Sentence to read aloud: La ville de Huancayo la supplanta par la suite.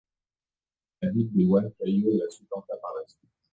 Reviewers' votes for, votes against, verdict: 1, 2, rejected